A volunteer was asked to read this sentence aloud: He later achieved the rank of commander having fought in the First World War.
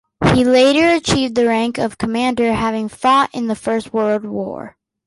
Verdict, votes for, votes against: accepted, 3, 0